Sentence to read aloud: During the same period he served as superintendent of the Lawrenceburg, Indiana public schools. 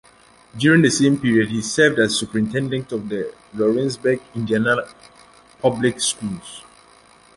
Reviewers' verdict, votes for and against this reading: accepted, 2, 1